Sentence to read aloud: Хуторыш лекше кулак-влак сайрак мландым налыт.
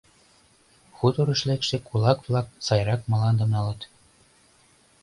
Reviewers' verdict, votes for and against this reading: accepted, 2, 0